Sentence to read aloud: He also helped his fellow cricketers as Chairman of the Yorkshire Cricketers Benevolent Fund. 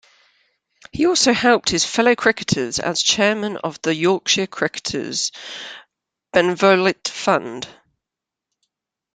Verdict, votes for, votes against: accepted, 2, 1